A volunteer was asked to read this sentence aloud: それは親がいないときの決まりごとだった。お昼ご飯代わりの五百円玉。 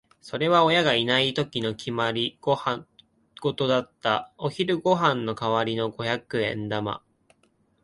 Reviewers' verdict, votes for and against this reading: rejected, 1, 2